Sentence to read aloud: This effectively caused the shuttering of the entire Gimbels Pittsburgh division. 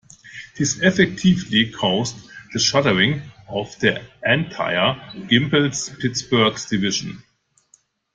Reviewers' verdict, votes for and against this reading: rejected, 0, 2